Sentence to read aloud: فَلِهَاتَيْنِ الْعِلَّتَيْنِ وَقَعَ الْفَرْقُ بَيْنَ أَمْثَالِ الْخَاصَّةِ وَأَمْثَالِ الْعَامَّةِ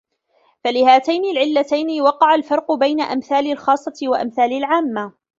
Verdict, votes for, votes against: rejected, 1, 2